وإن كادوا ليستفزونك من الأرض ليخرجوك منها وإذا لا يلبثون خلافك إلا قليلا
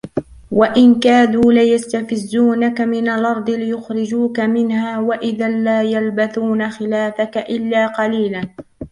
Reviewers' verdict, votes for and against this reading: rejected, 1, 2